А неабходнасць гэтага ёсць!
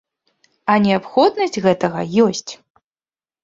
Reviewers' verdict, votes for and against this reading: accepted, 2, 0